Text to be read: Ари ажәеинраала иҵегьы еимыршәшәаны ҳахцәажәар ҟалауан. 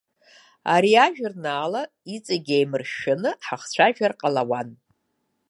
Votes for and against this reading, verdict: 0, 3, rejected